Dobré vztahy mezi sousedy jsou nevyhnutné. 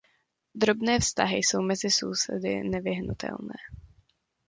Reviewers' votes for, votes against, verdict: 0, 2, rejected